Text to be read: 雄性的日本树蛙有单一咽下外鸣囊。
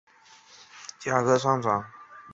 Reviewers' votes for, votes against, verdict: 0, 2, rejected